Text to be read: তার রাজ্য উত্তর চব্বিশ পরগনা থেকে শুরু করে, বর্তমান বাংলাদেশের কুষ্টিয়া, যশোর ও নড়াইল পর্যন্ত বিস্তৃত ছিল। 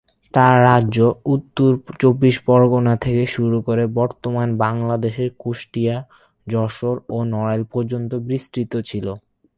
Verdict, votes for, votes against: rejected, 4, 4